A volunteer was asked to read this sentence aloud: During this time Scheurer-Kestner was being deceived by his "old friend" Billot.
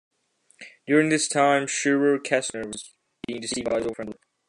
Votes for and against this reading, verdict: 0, 2, rejected